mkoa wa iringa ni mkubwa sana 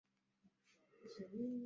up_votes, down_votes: 0, 2